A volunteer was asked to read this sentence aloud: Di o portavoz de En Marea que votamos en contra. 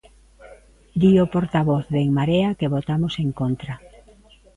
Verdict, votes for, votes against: accepted, 2, 0